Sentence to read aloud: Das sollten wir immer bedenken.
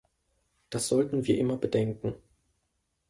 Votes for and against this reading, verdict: 2, 0, accepted